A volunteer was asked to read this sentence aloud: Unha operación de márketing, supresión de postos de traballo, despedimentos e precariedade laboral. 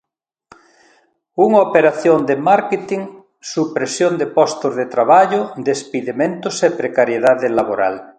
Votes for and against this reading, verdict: 1, 2, rejected